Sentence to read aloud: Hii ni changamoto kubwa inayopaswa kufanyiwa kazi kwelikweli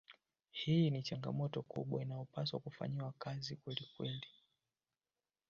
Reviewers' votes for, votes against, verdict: 0, 2, rejected